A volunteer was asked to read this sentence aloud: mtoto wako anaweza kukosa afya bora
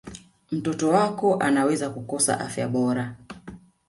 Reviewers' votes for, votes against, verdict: 2, 1, accepted